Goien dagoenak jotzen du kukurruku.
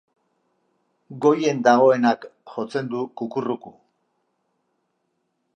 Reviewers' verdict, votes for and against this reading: accepted, 3, 0